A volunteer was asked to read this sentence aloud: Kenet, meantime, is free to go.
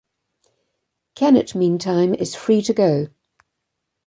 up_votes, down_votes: 2, 0